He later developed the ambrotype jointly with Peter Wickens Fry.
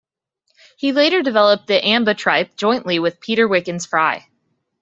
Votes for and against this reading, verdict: 0, 2, rejected